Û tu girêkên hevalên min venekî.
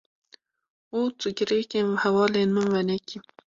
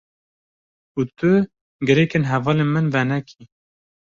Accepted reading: second